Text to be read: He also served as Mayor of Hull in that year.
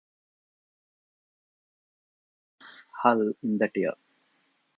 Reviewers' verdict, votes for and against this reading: rejected, 0, 2